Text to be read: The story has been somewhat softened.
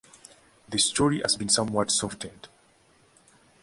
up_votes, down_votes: 2, 0